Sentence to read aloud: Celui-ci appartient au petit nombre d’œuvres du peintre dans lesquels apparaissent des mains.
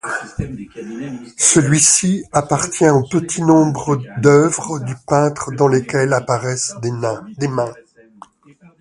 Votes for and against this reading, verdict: 0, 2, rejected